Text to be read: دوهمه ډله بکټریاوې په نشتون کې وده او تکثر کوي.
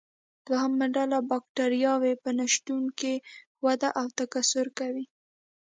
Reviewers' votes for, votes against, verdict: 2, 1, accepted